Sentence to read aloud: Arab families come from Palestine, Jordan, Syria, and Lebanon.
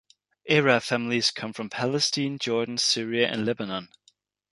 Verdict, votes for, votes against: rejected, 0, 2